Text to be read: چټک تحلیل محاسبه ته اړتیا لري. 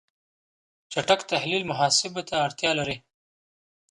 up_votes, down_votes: 2, 0